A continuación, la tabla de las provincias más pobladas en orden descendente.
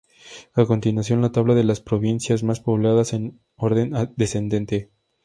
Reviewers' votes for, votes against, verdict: 2, 0, accepted